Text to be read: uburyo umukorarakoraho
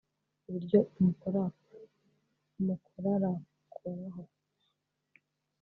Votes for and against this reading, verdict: 0, 2, rejected